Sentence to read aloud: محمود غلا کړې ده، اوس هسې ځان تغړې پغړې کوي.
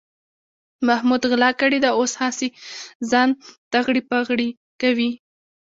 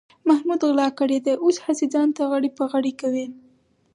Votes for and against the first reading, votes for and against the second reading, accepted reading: 1, 2, 4, 0, second